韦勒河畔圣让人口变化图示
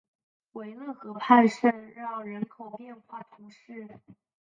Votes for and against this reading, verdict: 0, 2, rejected